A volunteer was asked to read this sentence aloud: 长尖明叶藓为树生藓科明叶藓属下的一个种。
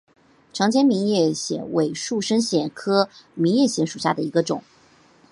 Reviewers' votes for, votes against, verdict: 2, 1, accepted